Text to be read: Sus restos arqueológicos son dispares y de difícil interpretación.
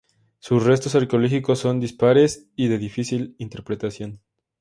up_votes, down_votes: 2, 0